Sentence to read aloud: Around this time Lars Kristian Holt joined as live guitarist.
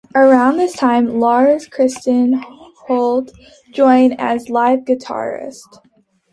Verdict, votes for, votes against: accepted, 2, 1